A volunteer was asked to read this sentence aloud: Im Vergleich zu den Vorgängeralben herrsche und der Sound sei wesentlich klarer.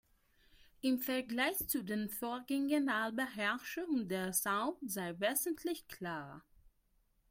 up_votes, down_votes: 2, 3